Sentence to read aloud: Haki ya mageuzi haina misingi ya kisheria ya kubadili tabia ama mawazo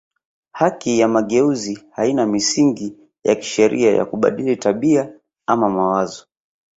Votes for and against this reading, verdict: 2, 0, accepted